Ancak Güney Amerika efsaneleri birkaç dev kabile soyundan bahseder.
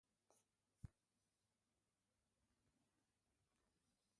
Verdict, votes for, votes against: rejected, 0, 2